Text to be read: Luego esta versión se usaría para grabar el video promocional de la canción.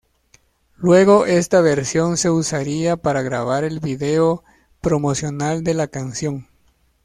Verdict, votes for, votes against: accepted, 2, 0